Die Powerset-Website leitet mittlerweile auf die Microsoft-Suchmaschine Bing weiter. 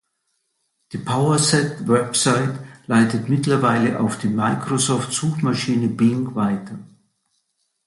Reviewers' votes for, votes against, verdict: 2, 0, accepted